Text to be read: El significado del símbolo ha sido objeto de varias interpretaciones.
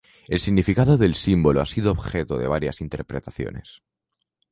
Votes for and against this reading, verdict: 2, 0, accepted